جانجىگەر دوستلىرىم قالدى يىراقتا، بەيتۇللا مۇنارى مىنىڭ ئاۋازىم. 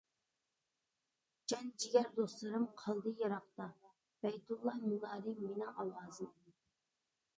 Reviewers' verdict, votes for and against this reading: rejected, 1, 2